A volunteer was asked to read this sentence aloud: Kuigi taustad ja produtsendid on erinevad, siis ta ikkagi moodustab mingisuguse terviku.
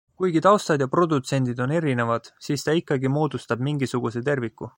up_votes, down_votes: 2, 0